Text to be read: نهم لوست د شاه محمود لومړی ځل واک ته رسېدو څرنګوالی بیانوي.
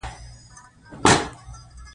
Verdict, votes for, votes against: accepted, 2, 0